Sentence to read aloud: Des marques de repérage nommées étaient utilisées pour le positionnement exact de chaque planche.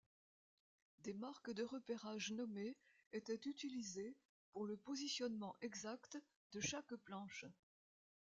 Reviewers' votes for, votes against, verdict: 0, 2, rejected